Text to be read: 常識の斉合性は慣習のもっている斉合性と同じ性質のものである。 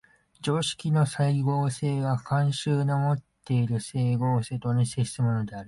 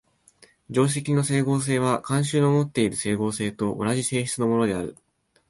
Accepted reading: first